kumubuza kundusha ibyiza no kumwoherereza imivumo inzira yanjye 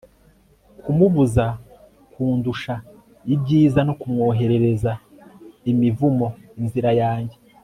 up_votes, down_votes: 2, 0